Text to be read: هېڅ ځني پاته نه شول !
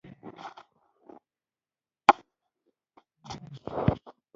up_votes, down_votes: 0, 2